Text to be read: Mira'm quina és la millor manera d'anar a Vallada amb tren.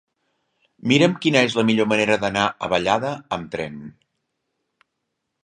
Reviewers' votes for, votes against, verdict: 3, 0, accepted